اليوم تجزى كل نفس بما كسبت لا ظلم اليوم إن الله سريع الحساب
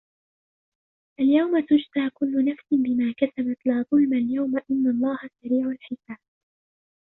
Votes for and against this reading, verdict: 1, 2, rejected